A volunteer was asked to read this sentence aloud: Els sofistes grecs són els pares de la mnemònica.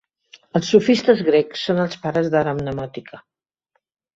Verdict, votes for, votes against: rejected, 1, 2